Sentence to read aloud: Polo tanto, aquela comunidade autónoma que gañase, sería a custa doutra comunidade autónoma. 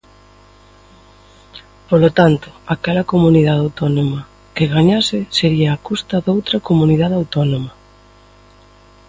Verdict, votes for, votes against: accepted, 2, 0